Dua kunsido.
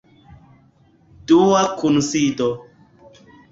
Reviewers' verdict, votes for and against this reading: accepted, 2, 1